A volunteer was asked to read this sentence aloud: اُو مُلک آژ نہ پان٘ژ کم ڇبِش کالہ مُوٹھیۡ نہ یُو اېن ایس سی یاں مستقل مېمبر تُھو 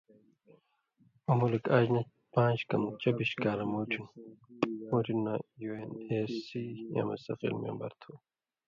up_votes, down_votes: 1, 2